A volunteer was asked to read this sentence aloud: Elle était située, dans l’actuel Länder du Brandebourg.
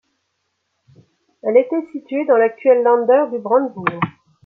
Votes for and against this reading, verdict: 2, 0, accepted